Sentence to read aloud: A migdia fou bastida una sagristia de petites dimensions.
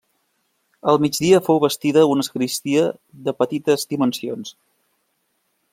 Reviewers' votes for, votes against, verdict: 0, 2, rejected